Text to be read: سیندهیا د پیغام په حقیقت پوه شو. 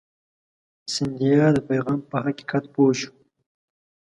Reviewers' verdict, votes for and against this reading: accepted, 2, 0